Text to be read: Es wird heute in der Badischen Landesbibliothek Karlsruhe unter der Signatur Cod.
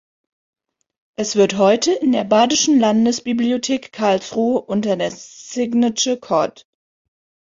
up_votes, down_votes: 0, 3